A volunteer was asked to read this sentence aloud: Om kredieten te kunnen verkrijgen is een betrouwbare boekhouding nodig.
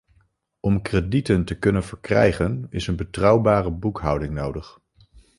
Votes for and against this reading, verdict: 2, 0, accepted